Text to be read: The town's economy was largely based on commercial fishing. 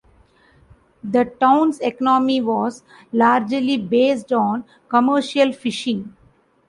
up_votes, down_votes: 2, 0